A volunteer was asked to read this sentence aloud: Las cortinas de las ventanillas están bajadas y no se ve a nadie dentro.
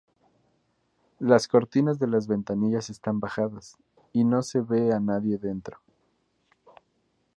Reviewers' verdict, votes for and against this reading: rejected, 0, 2